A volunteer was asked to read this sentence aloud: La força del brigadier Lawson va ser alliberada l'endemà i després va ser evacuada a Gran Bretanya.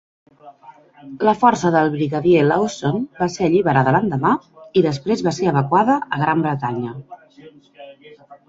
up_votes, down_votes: 2, 0